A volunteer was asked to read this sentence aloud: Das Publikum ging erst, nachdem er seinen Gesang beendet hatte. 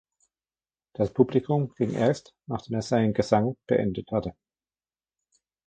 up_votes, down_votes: 2, 0